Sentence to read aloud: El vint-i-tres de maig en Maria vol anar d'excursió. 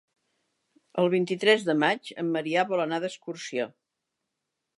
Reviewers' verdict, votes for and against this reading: rejected, 1, 2